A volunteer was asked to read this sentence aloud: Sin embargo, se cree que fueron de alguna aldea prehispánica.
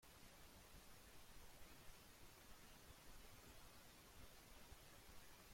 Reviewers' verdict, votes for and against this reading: rejected, 0, 2